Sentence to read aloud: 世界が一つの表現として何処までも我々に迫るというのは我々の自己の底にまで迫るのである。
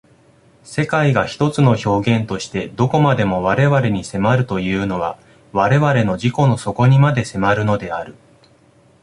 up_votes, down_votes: 1, 2